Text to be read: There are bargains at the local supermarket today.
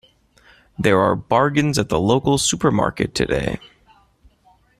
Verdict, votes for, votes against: accepted, 2, 0